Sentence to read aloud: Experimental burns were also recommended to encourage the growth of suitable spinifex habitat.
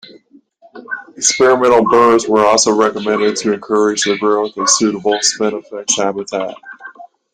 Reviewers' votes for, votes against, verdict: 2, 0, accepted